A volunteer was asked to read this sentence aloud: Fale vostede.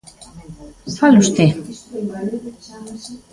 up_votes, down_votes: 1, 2